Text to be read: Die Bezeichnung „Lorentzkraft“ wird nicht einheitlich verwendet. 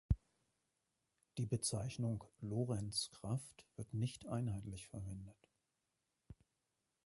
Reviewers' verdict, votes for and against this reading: accepted, 2, 0